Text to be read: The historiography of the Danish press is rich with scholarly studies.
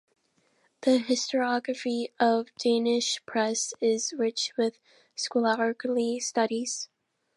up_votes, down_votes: 0, 2